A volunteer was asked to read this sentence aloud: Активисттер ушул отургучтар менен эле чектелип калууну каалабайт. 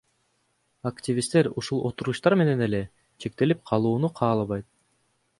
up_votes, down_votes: 2, 0